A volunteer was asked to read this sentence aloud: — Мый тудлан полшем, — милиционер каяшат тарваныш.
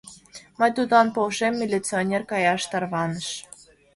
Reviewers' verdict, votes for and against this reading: accepted, 2, 0